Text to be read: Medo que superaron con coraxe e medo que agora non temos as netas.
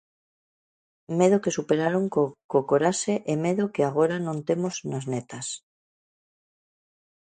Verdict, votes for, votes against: rejected, 0, 2